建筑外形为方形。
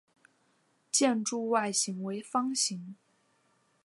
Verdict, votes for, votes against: accepted, 4, 0